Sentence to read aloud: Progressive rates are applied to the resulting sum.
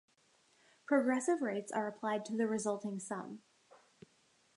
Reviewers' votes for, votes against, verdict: 2, 0, accepted